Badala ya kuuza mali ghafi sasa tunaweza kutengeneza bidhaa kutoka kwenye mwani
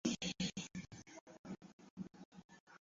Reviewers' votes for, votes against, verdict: 0, 2, rejected